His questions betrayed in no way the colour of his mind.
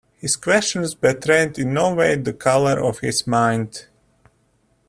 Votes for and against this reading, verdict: 1, 2, rejected